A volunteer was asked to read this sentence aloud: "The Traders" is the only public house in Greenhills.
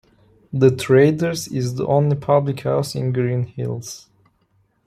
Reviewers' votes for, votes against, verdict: 2, 0, accepted